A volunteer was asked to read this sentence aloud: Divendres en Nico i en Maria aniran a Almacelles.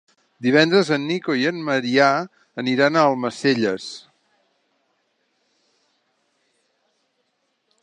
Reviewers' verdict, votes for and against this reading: rejected, 1, 2